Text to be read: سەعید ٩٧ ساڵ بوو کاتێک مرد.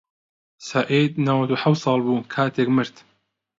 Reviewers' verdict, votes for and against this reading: rejected, 0, 2